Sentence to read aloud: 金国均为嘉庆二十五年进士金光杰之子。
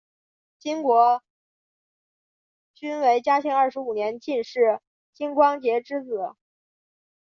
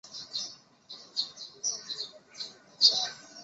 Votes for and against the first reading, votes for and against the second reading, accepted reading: 4, 1, 0, 5, first